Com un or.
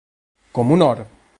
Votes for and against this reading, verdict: 2, 0, accepted